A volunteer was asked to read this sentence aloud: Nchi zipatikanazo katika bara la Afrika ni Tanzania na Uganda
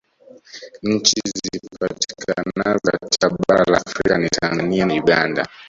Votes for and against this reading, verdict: 1, 2, rejected